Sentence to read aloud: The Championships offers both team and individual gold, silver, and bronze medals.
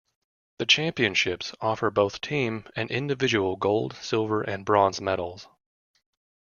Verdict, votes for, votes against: accepted, 2, 0